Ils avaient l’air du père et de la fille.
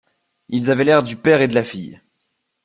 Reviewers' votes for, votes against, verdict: 2, 0, accepted